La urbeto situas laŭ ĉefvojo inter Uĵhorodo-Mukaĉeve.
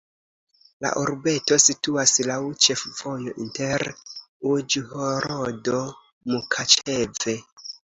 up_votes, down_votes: 2, 0